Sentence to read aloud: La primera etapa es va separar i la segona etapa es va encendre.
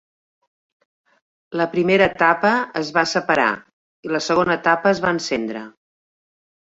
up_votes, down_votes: 3, 1